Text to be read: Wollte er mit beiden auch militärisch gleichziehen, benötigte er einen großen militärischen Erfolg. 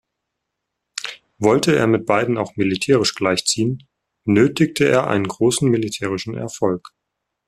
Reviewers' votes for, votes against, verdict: 2, 0, accepted